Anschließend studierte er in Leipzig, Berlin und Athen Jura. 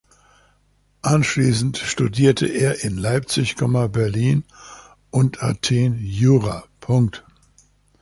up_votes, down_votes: 1, 2